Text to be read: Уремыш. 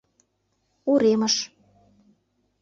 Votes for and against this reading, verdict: 2, 0, accepted